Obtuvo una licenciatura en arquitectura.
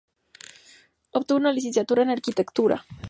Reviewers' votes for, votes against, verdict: 2, 0, accepted